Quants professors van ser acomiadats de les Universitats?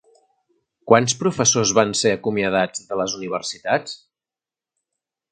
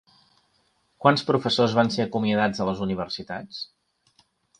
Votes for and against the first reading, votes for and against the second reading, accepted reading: 3, 0, 1, 2, first